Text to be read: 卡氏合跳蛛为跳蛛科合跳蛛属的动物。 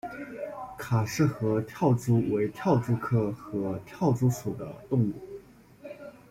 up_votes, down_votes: 2, 0